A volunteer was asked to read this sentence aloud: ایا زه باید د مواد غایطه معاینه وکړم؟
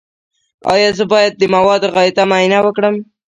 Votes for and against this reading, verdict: 1, 2, rejected